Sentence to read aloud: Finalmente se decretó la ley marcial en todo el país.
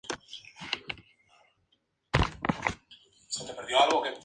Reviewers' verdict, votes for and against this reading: rejected, 0, 2